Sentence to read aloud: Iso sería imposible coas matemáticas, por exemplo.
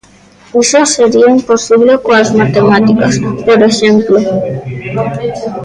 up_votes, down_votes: 0, 3